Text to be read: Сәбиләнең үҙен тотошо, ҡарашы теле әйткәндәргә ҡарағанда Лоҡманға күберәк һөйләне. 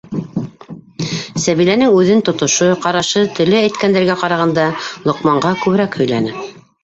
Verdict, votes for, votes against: rejected, 1, 2